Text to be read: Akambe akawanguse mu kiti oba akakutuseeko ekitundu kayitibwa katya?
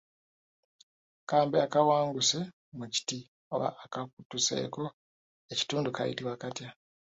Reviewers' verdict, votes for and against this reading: rejected, 1, 2